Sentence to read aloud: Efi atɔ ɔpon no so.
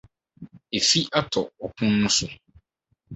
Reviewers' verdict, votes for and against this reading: accepted, 4, 0